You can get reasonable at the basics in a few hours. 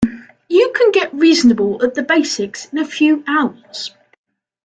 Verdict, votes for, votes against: accepted, 2, 0